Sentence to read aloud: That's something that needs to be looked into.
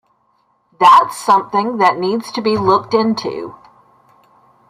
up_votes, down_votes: 1, 2